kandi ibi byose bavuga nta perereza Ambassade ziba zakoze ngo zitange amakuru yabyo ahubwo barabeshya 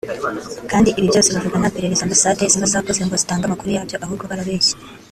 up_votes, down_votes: 1, 2